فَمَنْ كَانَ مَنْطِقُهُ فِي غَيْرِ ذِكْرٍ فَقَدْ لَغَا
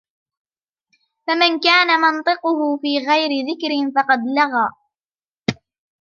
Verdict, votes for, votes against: accepted, 2, 0